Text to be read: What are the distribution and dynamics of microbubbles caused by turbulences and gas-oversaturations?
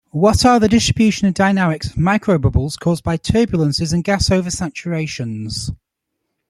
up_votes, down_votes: 2, 0